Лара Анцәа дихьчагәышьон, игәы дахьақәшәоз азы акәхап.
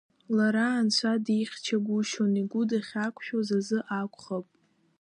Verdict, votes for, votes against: accepted, 2, 1